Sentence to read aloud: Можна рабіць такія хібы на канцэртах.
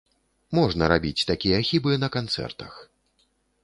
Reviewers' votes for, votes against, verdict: 2, 0, accepted